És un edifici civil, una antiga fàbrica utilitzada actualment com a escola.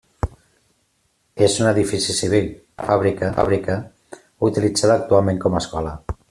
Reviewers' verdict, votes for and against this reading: rejected, 0, 2